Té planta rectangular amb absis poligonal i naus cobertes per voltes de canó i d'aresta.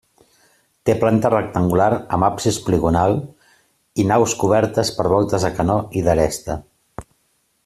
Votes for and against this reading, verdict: 2, 0, accepted